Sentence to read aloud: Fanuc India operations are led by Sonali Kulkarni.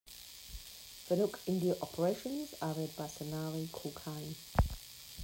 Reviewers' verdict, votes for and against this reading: rejected, 0, 2